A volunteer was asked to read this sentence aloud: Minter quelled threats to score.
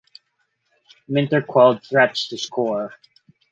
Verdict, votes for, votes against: accepted, 4, 0